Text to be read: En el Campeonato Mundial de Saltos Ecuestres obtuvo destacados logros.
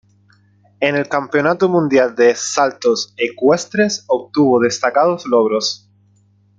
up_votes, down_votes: 2, 0